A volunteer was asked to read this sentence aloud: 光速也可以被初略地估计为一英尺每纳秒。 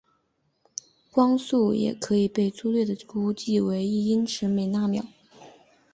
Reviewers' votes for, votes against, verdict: 2, 1, accepted